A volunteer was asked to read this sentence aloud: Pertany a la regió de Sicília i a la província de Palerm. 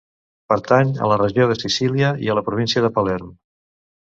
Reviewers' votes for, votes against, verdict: 2, 0, accepted